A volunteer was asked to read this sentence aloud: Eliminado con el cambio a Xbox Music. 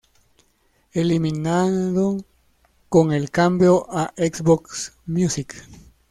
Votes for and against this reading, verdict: 2, 0, accepted